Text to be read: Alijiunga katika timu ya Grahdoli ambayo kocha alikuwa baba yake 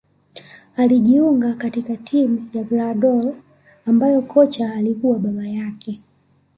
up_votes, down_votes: 2, 0